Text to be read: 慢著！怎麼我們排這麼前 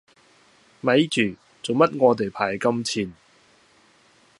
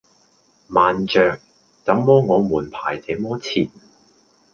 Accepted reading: second